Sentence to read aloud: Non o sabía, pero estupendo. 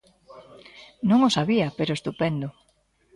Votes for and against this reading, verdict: 2, 0, accepted